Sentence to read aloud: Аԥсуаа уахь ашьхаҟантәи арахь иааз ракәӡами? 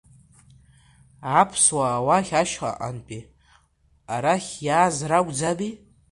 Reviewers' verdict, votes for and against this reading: rejected, 0, 2